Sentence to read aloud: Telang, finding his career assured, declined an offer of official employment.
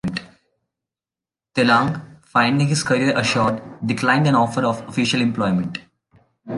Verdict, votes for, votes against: rejected, 1, 2